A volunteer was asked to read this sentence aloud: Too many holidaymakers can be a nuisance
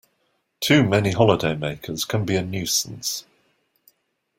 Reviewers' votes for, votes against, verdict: 2, 0, accepted